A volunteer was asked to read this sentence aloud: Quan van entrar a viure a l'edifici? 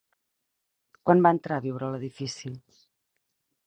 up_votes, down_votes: 2, 2